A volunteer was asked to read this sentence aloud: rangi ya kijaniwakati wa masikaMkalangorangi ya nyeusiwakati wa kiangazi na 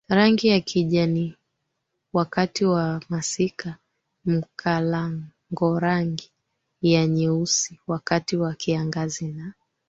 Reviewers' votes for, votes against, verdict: 3, 1, accepted